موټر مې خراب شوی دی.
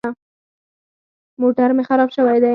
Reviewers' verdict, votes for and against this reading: rejected, 0, 4